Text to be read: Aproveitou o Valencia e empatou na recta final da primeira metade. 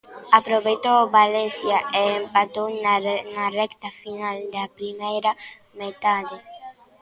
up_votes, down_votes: 0, 2